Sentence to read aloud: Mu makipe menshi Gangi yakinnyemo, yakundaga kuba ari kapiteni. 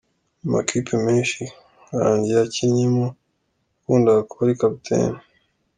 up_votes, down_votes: 2, 0